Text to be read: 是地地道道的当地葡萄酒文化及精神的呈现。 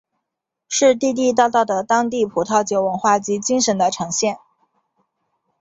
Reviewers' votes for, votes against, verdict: 2, 4, rejected